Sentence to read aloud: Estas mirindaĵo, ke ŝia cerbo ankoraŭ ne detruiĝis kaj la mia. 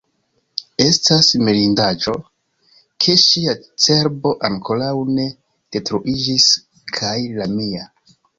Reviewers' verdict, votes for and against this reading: rejected, 0, 2